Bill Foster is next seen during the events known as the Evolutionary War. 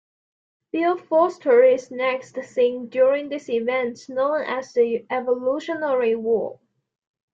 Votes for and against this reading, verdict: 2, 0, accepted